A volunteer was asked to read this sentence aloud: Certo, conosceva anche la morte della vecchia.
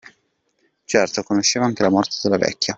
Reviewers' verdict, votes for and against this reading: accepted, 2, 1